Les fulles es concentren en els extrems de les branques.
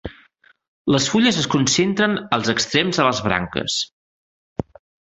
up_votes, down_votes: 0, 2